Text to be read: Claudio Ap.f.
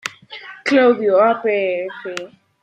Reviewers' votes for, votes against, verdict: 0, 2, rejected